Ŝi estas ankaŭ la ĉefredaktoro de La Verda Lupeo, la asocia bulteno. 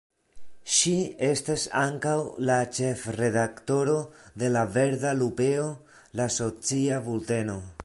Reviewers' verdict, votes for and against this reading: rejected, 1, 2